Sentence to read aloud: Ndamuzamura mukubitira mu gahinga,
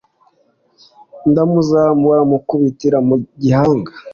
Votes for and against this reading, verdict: 2, 1, accepted